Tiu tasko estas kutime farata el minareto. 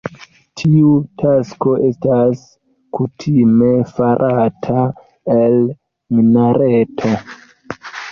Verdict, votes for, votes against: accepted, 2, 0